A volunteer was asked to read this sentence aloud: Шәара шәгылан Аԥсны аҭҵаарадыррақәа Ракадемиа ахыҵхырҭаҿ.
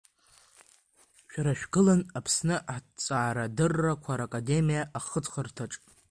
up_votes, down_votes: 1, 2